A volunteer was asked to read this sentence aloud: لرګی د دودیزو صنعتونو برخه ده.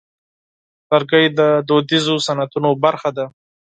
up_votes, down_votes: 4, 0